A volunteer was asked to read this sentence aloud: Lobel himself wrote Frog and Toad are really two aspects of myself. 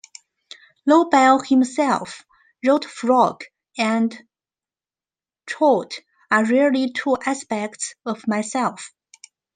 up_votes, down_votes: 2, 1